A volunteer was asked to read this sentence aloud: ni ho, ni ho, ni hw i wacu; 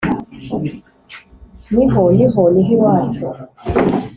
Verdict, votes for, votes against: accepted, 2, 0